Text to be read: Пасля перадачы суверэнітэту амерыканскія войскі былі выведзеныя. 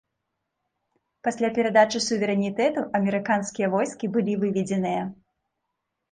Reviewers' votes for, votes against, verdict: 2, 0, accepted